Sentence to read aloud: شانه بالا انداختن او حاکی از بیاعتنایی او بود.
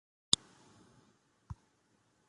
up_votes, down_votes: 0, 2